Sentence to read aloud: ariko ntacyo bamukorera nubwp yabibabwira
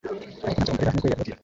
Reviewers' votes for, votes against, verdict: 1, 2, rejected